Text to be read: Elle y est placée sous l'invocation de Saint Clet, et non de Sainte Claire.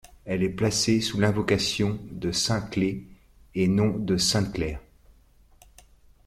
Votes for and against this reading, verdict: 1, 2, rejected